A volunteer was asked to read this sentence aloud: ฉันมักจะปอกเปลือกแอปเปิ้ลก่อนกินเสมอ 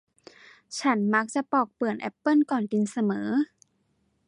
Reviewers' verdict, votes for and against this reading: accepted, 2, 0